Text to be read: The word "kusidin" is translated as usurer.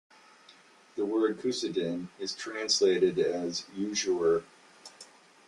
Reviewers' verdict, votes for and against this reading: accepted, 2, 1